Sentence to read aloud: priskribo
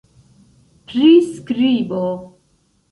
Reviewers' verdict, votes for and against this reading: accepted, 2, 0